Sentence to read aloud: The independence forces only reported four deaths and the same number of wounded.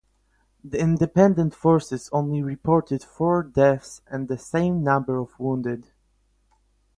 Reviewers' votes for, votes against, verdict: 0, 4, rejected